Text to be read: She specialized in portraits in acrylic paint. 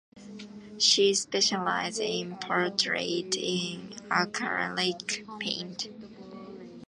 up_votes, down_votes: 0, 2